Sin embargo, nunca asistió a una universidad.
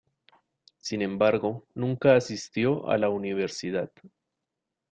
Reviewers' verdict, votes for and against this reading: rejected, 0, 2